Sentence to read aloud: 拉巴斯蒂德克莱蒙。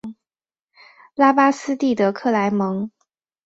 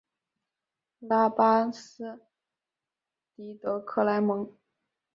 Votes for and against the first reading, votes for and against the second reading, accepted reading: 2, 0, 1, 2, first